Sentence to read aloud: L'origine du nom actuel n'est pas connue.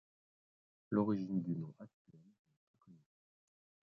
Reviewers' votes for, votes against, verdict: 1, 2, rejected